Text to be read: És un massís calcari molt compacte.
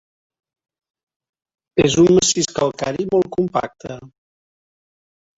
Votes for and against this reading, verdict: 2, 1, accepted